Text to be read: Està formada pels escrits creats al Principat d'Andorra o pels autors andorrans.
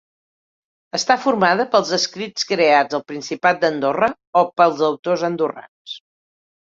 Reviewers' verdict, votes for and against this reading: accepted, 2, 0